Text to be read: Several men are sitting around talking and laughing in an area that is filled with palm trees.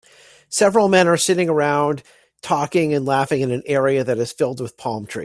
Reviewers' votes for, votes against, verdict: 1, 2, rejected